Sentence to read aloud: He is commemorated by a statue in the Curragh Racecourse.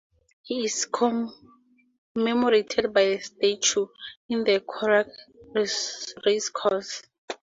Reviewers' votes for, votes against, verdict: 4, 2, accepted